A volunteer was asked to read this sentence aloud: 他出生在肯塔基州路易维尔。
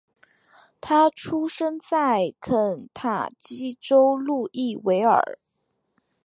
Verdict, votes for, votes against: accepted, 3, 0